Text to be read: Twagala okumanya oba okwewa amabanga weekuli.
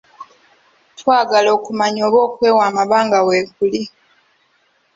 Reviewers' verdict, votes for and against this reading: accepted, 3, 1